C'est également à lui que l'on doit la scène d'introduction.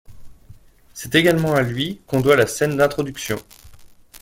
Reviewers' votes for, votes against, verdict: 2, 1, accepted